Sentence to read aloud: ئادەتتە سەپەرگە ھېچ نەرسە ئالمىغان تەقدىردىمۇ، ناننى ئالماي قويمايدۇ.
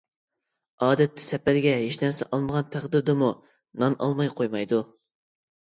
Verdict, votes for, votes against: rejected, 1, 2